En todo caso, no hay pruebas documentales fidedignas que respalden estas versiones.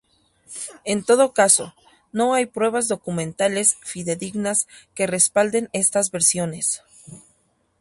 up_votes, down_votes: 0, 2